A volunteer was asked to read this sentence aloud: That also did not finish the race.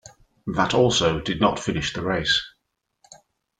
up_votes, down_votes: 2, 1